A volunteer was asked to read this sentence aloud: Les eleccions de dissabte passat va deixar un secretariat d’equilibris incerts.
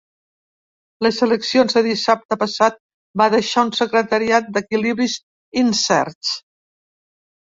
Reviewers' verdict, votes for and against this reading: accepted, 3, 0